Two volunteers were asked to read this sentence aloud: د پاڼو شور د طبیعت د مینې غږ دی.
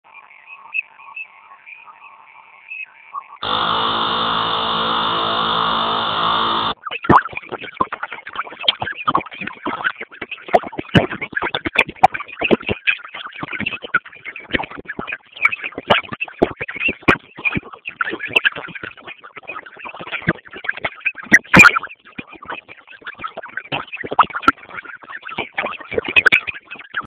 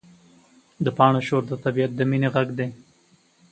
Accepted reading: second